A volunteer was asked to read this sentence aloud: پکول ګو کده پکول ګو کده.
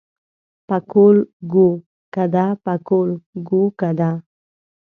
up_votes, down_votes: 0, 2